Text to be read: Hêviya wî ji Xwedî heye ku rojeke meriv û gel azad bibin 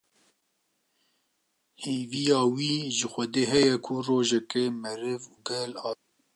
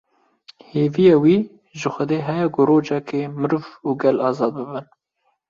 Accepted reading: second